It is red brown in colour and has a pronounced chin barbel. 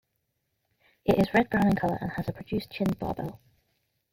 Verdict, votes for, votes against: rejected, 0, 2